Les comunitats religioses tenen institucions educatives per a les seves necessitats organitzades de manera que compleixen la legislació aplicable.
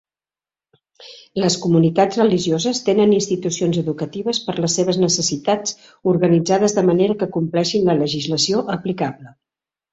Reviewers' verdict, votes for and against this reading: rejected, 1, 2